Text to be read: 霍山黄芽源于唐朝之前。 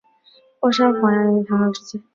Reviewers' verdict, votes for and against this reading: rejected, 1, 3